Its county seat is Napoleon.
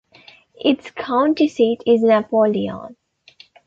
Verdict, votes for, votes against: accepted, 2, 0